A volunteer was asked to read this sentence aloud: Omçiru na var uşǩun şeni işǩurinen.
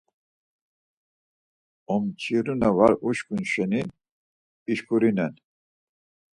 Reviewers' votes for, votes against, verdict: 4, 0, accepted